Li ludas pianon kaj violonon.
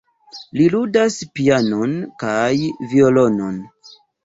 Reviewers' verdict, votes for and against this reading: accepted, 2, 1